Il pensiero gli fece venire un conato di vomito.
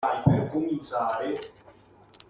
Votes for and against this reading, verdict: 0, 2, rejected